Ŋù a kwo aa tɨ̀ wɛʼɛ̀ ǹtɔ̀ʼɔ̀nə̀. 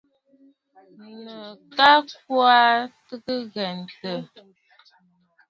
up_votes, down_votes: 2, 0